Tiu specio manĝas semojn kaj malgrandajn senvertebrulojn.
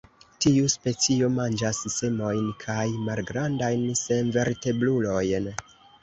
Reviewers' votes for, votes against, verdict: 2, 0, accepted